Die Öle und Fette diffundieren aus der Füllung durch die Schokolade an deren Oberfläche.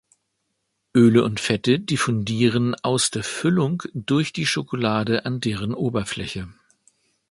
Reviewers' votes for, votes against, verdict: 0, 2, rejected